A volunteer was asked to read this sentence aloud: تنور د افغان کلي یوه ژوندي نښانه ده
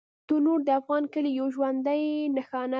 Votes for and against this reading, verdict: 1, 2, rejected